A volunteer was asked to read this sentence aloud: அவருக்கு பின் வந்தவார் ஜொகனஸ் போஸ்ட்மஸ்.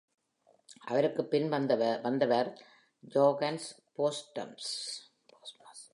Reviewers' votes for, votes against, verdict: 0, 2, rejected